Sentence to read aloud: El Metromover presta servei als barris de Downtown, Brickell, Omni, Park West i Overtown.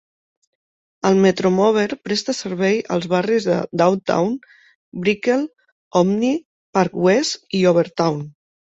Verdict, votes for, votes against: accepted, 2, 0